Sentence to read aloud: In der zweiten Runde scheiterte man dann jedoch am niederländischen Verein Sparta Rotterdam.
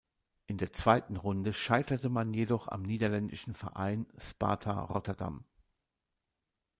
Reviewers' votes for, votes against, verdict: 1, 2, rejected